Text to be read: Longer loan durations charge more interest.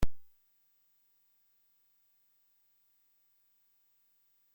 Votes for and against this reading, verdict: 0, 2, rejected